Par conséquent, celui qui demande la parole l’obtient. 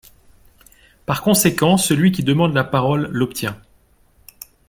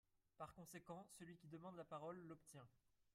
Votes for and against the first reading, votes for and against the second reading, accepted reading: 3, 1, 2, 4, first